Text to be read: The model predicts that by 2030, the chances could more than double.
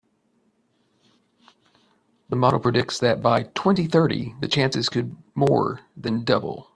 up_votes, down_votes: 0, 2